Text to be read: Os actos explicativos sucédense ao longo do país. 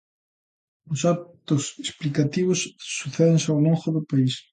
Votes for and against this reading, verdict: 1, 2, rejected